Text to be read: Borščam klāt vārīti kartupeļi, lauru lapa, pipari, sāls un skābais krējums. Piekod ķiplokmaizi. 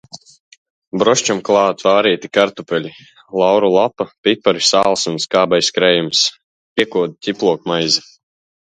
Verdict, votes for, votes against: rejected, 0, 2